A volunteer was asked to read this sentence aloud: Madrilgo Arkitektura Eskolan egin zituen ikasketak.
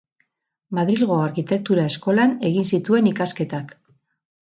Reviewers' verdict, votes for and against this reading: rejected, 2, 2